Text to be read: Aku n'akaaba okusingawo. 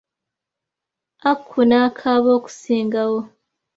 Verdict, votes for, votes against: accepted, 2, 0